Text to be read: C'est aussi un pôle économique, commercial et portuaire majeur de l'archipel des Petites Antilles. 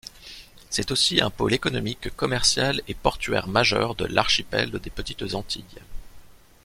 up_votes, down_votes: 2, 0